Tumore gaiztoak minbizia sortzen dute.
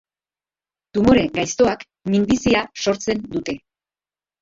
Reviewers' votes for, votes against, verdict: 2, 0, accepted